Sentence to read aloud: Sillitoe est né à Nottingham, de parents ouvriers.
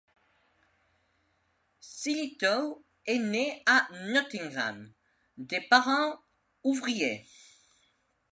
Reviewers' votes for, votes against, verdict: 2, 1, accepted